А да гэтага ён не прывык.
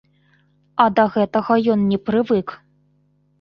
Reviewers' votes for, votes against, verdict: 2, 1, accepted